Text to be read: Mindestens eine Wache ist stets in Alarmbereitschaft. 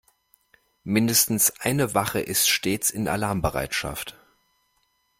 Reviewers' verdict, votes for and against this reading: accepted, 2, 0